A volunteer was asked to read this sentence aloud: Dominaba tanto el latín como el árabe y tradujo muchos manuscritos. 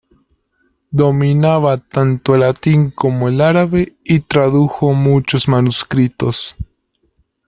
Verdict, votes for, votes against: accepted, 2, 0